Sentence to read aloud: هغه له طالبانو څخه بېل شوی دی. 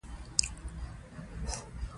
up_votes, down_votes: 1, 2